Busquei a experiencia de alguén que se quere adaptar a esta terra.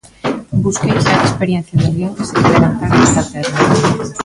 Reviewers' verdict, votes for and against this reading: rejected, 0, 3